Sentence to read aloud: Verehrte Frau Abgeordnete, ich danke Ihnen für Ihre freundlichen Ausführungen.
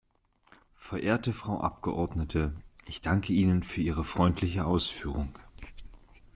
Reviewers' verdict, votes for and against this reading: rejected, 0, 2